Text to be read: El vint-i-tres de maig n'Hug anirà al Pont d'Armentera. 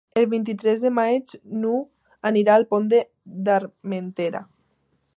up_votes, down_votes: 0, 2